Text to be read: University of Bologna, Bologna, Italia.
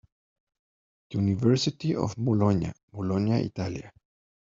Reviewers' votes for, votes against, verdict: 1, 2, rejected